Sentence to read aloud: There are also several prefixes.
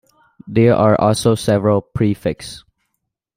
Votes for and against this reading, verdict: 1, 2, rejected